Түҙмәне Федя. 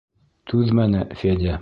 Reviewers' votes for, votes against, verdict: 2, 0, accepted